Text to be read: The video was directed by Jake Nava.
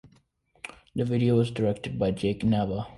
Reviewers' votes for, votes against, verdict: 2, 0, accepted